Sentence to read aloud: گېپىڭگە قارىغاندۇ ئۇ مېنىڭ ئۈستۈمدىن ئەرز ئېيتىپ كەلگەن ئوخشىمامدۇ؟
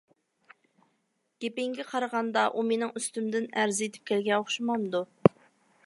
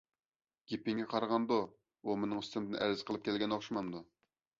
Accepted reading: second